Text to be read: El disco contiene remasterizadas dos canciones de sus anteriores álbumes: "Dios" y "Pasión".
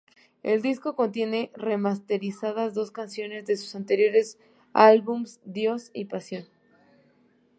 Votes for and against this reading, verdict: 0, 2, rejected